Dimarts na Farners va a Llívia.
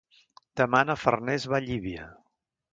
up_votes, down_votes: 2, 3